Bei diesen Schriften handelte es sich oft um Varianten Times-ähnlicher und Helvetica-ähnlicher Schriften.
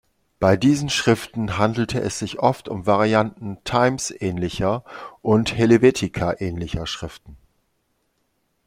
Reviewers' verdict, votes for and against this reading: accepted, 2, 1